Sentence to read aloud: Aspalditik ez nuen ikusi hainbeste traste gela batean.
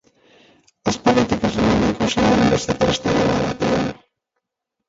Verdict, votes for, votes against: rejected, 0, 2